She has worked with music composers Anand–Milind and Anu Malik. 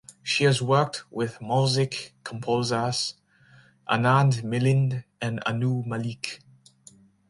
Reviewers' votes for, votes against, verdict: 0, 2, rejected